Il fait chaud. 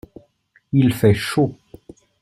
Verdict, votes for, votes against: accepted, 2, 0